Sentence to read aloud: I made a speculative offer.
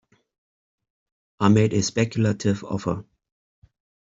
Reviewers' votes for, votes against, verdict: 2, 0, accepted